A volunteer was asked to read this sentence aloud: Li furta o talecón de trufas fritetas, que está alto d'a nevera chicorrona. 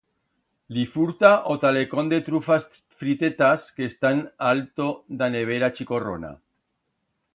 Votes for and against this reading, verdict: 1, 2, rejected